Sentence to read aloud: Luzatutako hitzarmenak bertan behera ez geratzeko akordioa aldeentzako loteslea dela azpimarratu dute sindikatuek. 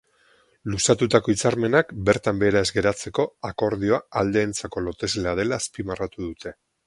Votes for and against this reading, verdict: 2, 2, rejected